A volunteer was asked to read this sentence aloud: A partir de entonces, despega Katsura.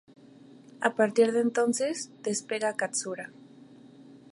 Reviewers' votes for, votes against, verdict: 2, 0, accepted